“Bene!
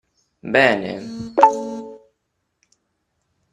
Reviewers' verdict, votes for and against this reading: accepted, 2, 0